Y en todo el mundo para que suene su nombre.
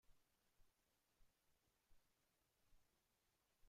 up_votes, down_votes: 0, 2